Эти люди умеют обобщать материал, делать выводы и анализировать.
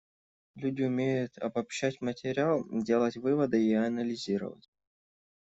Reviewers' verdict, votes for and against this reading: rejected, 0, 2